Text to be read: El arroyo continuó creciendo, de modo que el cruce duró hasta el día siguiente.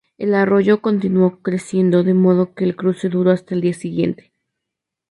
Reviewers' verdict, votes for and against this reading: accepted, 2, 0